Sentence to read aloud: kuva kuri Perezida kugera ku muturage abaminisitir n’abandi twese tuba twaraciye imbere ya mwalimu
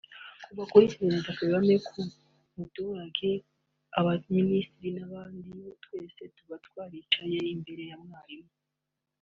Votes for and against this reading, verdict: 2, 1, accepted